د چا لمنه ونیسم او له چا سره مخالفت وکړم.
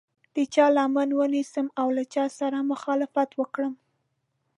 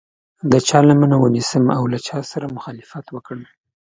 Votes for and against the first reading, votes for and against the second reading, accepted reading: 1, 2, 2, 0, second